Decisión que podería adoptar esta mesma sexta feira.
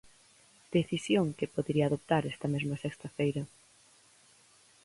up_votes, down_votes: 4, 2